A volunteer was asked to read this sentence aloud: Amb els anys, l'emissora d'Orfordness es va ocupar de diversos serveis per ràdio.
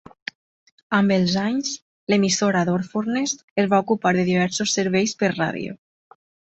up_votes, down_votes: 2, 0